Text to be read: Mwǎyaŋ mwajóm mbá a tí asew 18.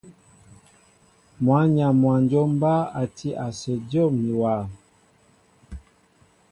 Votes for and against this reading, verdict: 0, 2, rejected